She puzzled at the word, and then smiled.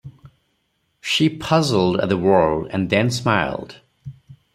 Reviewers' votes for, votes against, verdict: 4, 0, accepted